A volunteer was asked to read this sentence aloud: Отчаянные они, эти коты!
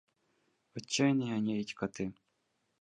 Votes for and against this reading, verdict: 1, 2, rejected